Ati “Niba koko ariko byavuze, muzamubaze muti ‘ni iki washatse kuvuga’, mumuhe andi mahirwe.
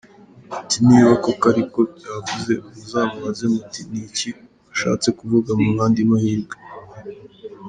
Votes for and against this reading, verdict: 2, 1, accepted